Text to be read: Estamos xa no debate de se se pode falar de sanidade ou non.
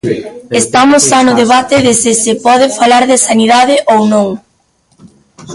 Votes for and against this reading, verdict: 1, 2, rejected